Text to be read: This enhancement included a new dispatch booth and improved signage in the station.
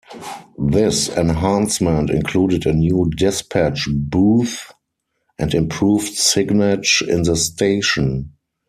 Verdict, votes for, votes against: rejected, 2, 4